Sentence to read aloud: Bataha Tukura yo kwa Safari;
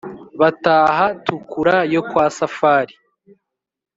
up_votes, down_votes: 3, 0